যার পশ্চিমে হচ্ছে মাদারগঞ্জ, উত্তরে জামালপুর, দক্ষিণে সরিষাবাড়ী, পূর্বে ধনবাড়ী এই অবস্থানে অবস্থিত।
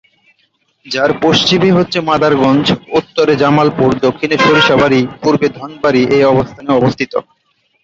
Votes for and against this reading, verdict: 6, 1, accepted